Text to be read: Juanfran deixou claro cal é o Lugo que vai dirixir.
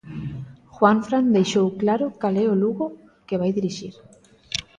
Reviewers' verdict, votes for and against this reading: accepted, 2, 0